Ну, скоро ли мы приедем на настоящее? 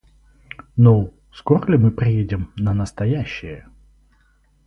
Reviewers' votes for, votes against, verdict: 4, 0, accepted